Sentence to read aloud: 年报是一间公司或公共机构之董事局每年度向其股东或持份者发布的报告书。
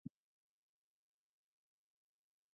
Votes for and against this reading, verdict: 0, 3, rejected